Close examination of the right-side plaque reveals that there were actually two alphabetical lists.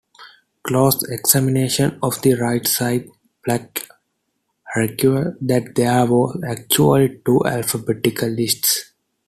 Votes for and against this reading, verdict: 2, 1, accepted